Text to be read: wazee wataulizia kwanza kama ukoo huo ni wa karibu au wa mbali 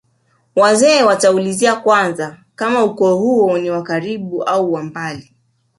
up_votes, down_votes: 1, 2